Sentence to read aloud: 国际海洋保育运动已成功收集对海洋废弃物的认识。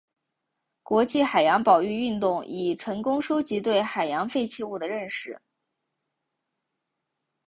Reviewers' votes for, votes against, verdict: 2, 0, accepted